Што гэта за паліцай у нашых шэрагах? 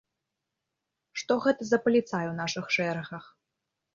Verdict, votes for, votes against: accepted, 2, 0